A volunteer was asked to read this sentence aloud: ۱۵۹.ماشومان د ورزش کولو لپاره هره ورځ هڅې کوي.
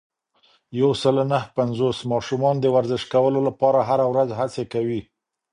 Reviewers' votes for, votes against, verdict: 0, 2, rejected